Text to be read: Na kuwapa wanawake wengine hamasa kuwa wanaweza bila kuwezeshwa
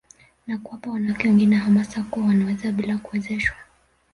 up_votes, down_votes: 2, 0